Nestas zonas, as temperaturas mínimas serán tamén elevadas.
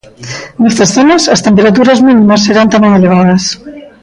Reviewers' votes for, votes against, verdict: 1, 2, rejected